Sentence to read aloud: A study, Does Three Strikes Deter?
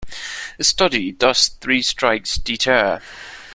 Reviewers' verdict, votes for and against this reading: accepted, 2, 0